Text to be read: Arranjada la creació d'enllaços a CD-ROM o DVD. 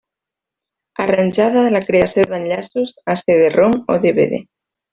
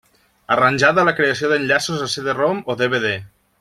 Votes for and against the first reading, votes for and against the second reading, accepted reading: 0, 2, 2, 0, second